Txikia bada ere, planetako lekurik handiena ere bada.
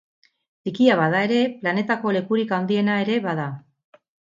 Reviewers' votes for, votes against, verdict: 0, 2, rejected